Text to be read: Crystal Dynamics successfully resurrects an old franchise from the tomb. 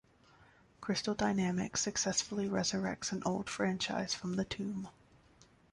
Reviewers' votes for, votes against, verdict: 1, 2, rejected